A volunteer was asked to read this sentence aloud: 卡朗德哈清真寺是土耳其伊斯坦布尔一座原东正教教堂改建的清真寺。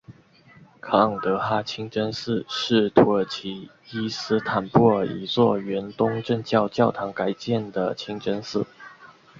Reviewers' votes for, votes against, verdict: 2, 0, accepted